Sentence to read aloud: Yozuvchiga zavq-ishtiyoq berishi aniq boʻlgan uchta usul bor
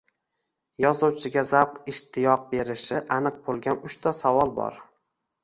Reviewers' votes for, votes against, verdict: 0, 2, rejected